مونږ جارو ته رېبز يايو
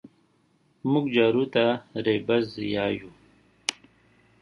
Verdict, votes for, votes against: accepted, 5, 0